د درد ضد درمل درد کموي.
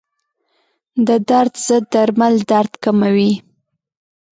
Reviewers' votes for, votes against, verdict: 2, 0, accepted